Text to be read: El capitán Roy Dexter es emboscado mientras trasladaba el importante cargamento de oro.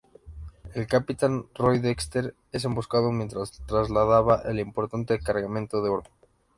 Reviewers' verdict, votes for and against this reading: accepted, 2, 0